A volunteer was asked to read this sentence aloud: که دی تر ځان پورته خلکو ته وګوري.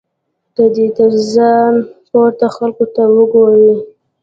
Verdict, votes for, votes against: rejected, 1, 2